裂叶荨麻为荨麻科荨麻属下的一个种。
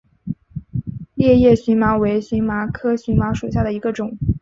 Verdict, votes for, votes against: accepted, 5, 0